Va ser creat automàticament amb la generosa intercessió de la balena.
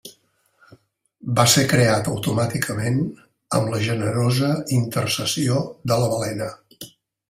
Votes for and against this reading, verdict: 3, 0, accepted